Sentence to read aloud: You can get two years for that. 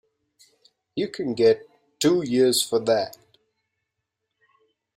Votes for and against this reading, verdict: 2, 1, accepted